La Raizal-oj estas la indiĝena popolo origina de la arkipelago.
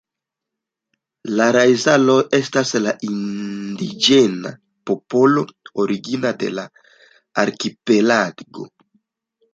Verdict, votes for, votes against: rejected, 1, 2